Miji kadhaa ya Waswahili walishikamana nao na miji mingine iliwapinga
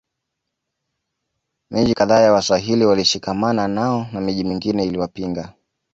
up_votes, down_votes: 2, 0